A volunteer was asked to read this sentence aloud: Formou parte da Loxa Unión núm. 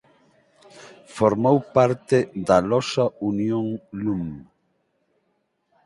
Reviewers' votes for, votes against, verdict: 2, 4, rejected